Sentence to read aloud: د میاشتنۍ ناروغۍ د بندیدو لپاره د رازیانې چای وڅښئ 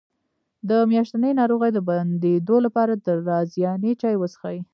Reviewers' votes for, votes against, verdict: 1, 2, rejected